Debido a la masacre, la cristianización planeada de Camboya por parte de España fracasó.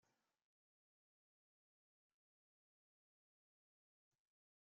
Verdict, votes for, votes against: rejected, 1, 2